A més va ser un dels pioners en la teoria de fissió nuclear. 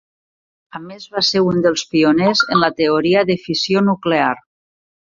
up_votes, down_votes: 2, 0